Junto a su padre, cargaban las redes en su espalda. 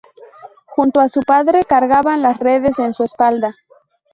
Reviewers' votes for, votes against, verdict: 2, 4, rejected